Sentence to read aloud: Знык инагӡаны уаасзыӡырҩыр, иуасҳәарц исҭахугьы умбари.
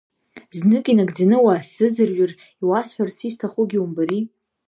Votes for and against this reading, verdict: 2, 0, accepted